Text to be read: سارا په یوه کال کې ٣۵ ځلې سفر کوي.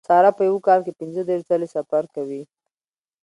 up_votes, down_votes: 0, 2